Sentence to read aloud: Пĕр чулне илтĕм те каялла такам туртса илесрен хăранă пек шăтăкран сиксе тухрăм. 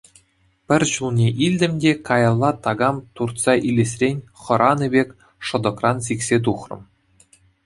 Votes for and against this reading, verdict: 2, 0, accepted